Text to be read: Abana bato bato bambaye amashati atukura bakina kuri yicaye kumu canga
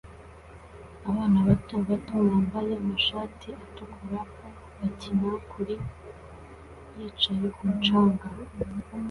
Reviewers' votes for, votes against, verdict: 2, 1, accepted